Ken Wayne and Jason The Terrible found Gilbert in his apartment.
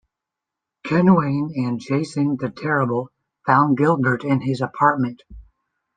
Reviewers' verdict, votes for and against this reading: accepted, 2, 0